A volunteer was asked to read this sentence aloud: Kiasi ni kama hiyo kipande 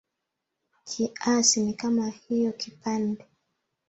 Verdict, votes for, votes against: rejected, 0, 2